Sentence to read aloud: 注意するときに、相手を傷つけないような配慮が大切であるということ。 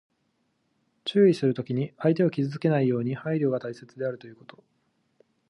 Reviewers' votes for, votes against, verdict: 0, 2, rejected